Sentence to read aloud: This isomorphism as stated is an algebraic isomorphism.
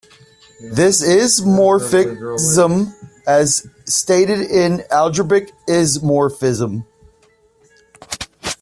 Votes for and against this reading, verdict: 0, 2, rejected